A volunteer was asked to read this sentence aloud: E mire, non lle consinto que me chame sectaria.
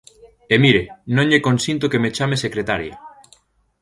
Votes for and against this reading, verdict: 0, 2, rejected